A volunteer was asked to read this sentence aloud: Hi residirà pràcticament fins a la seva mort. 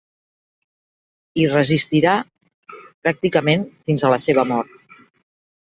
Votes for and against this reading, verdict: 0, 2, rejected